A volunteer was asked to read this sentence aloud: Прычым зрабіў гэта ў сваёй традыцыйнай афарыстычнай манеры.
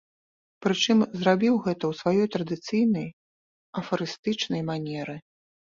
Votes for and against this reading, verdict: 2, 0, accepted